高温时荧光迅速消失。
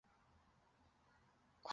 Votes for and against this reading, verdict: 0, 2, rejected